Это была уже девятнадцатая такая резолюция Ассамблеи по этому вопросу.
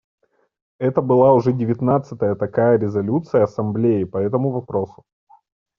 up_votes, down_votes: 2, 0